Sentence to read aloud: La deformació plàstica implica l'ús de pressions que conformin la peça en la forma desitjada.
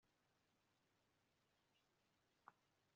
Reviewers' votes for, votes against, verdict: 0, 2, rejected